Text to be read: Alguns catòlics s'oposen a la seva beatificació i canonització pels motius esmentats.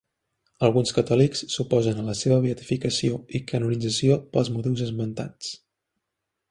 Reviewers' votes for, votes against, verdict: 2, 0, accepted